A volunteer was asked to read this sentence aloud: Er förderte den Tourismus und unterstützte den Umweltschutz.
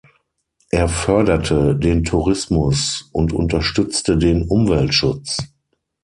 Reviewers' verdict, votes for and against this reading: accepted, 6, 0